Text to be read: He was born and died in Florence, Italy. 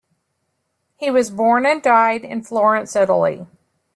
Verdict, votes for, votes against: accepted, 2, 1